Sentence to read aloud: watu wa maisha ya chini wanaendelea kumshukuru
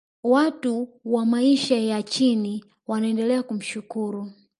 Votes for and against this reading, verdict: 1, 2, rejected